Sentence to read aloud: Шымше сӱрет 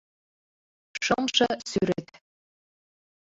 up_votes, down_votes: 1, 2